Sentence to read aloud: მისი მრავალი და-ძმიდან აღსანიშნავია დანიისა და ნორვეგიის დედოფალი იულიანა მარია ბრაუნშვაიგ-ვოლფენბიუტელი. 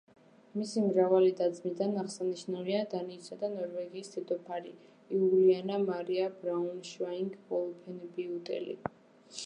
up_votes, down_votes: 1, 2